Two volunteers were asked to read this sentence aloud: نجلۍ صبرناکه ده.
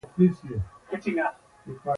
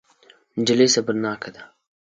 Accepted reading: second